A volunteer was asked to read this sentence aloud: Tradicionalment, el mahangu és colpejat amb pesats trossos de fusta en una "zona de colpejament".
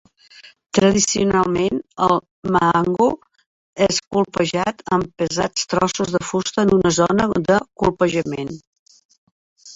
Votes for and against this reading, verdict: 2, 0, accepted